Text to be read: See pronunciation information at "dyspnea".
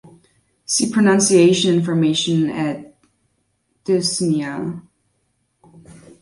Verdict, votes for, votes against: rejected, 1, 2